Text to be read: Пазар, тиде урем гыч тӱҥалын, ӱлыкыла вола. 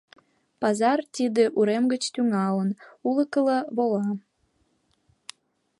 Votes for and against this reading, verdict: 1, 2, rejected